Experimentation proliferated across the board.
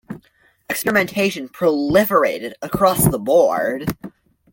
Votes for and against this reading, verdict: 0, 2, rejected